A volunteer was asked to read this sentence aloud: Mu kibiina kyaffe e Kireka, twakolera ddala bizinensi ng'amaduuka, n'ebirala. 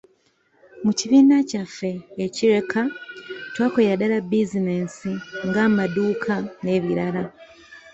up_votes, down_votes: 2, 0